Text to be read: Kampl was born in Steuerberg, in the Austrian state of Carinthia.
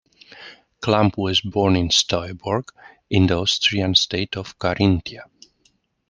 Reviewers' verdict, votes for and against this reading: accepted, 2, 0